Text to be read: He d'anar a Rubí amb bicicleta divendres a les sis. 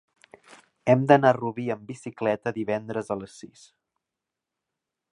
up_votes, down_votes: 1, 2